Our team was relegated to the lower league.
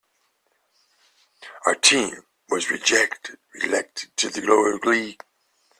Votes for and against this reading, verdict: 0, 2, rejected